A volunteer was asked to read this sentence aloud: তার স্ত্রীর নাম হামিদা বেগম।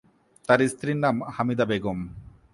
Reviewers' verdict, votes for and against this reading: accepted, 2, 1